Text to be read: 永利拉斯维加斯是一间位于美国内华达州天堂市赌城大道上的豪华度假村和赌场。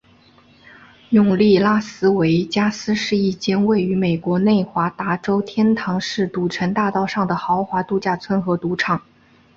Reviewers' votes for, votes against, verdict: 2, 1, accepted